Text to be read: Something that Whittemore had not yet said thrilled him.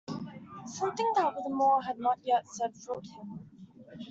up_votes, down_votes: 2, 0